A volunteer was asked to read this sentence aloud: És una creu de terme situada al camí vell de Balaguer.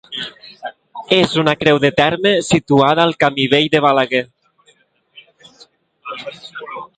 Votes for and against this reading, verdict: 2, 0, accepted